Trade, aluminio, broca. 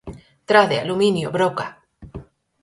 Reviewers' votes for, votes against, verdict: 4, 0, accepted